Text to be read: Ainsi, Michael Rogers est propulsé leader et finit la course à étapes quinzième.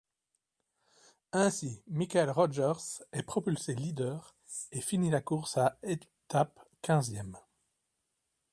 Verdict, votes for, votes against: rejected, 0, 2